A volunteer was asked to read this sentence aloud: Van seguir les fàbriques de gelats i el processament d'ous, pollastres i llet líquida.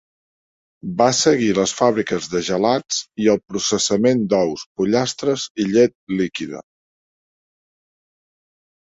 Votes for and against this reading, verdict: 1, 2, rejected